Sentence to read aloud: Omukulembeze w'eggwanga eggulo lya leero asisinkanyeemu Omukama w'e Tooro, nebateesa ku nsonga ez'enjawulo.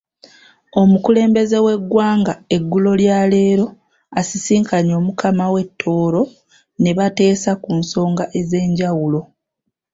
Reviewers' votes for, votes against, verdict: 0, 2, rejected